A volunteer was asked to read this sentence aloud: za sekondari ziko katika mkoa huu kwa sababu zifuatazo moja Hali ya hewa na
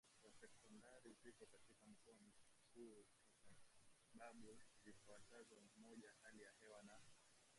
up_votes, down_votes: 0, 2